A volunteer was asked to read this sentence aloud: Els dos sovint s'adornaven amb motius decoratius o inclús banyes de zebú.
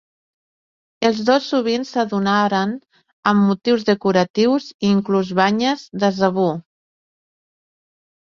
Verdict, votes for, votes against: rejected, 1, 2